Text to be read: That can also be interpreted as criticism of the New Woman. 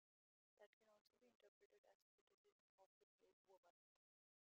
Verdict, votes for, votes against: rejected, 0, 2